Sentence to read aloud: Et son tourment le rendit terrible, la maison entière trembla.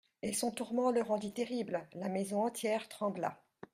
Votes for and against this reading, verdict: 2, 0, accepted